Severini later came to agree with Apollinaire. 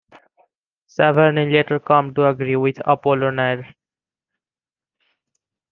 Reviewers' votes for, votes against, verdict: 1, 2, rejected